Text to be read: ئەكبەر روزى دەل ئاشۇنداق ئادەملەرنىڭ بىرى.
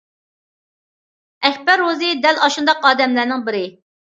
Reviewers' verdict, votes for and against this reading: accepted, 2, 0